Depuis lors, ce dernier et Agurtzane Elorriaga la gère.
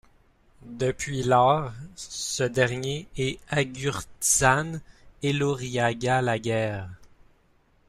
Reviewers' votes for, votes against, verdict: 1, 2, rejected